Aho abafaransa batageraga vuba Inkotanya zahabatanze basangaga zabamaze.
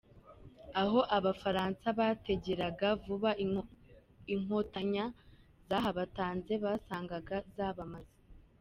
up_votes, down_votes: 1, 3